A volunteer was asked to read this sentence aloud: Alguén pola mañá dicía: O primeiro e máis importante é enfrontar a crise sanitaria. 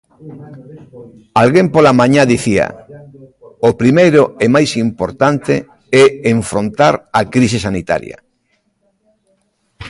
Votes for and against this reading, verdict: 0, 2, rejected